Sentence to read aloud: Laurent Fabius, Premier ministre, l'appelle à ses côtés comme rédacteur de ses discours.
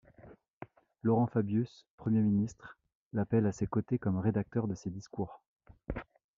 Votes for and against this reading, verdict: 2, 0, accepted